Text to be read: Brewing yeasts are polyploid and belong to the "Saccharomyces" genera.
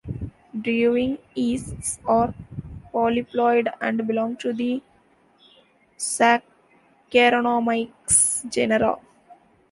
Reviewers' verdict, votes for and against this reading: rejected, 0, 2